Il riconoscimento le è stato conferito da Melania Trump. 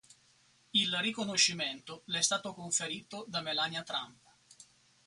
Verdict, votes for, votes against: accepted, 4, 0